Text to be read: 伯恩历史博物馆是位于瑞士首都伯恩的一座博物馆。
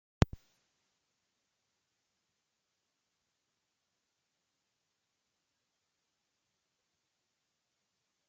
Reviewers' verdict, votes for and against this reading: rejected, 0, 2